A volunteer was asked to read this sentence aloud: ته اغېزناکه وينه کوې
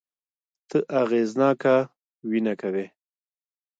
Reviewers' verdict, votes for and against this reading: accepted, 2, 0